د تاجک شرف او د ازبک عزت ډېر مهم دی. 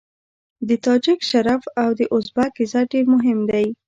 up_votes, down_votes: 0, 2